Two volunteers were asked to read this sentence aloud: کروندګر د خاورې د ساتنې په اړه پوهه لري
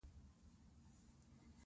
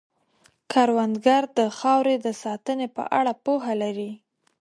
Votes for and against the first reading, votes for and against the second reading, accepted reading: 1, 2, 2, 0, second